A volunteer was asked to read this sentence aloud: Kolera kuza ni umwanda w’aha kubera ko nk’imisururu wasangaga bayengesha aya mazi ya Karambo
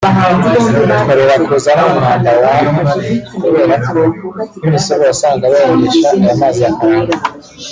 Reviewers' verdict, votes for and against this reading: rejected, 1, 3